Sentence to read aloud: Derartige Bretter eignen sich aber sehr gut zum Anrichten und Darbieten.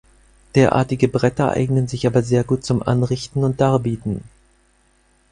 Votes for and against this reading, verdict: 4, 0, accepted